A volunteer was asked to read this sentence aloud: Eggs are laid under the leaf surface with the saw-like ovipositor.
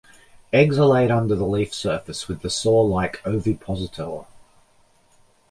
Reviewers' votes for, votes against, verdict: 2, 0, accepted